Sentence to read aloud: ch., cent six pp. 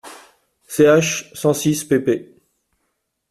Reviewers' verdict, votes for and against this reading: accepted, 2, 0